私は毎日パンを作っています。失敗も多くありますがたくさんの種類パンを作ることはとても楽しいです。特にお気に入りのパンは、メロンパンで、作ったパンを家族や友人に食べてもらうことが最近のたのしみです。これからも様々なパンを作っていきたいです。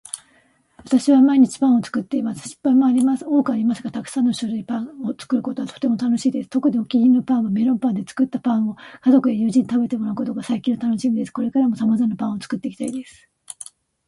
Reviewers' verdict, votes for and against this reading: accepted, 2, 1